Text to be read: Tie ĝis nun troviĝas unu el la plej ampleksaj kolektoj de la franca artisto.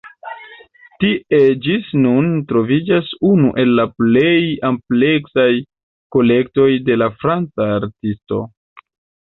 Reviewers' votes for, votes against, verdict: 2, 0, accepted